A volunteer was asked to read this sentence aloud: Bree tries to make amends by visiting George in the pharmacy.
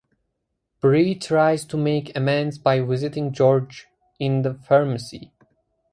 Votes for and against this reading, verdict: 4, 0, accepted